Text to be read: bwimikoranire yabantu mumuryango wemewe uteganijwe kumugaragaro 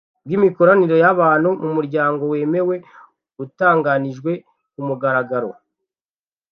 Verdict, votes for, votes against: rejected, 1, 2